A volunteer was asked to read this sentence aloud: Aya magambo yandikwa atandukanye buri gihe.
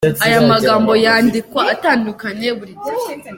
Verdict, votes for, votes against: accepted, 2, 1